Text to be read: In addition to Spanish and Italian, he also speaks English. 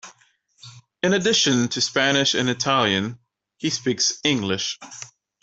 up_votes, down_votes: 1, 3